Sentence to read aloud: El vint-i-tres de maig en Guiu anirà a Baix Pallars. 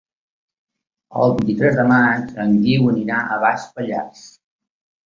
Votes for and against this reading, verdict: 2, 1, accepted